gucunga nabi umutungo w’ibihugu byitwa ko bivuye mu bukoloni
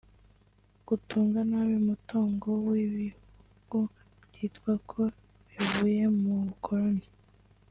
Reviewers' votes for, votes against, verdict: 0, 2, rejected